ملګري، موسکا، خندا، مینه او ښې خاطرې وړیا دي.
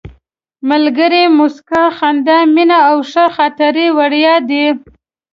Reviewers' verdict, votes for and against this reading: accepted, 3, 0